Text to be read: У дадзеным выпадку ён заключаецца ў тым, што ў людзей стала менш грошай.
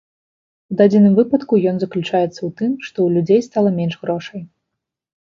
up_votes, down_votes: 2, 1